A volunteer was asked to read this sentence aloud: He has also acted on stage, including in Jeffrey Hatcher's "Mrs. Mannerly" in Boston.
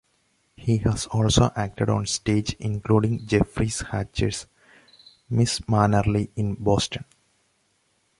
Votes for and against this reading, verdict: 2, 1, accepted